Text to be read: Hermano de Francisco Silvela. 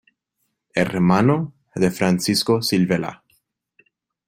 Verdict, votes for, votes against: accepted, 2, 1